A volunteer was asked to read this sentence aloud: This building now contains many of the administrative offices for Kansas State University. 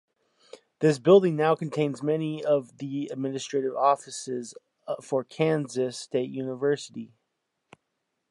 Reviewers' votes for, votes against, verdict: 2, 0, accepted